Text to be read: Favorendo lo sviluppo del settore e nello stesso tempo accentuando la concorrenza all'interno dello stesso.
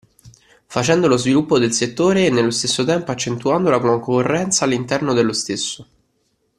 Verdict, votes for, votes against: rejected, 0, 2